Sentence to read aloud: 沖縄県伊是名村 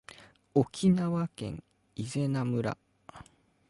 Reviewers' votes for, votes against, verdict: 2, 0, accepted